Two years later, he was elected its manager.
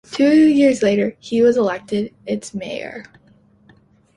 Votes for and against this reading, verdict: 1, 2, rejected